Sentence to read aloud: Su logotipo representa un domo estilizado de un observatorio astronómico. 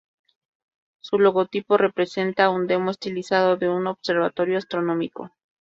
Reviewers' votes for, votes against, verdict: 0, 2, rejected